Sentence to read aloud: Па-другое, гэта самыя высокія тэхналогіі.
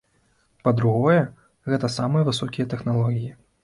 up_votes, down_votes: 2, 0